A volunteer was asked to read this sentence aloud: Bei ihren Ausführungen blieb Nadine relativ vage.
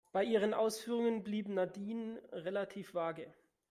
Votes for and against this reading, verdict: 1, 2, rejected